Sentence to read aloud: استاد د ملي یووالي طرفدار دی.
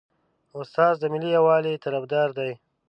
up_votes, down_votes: 2, 0